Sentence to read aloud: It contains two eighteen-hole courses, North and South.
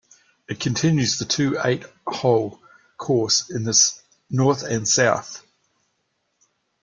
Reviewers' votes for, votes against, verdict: 0, 2, rejected